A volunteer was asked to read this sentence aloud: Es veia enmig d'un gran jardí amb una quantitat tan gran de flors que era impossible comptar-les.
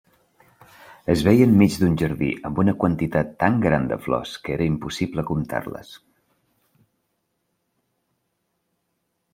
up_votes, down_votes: 1, 2